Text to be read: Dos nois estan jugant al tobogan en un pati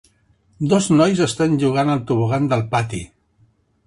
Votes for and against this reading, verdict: 1, 2, rejected